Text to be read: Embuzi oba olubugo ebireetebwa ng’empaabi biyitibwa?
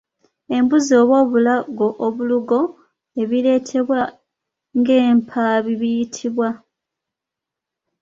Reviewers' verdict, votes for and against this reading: rejected, 0, 2